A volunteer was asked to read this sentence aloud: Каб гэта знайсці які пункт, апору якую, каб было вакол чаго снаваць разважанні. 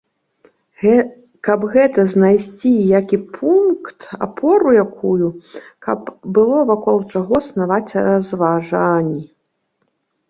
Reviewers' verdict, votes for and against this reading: rejected, 0, 2